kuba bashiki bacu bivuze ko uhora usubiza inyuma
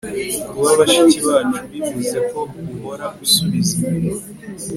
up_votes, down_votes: 3, 0